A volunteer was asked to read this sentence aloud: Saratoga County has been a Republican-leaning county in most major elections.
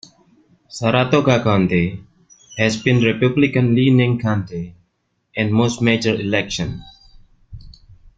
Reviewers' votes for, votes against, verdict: 0, 2, rejected